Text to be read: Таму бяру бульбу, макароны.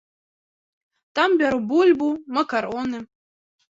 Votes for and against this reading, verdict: 1, 2, rejected